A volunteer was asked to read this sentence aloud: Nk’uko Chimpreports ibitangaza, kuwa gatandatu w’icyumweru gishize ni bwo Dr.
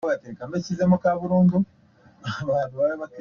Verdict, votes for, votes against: rejected, 1, 2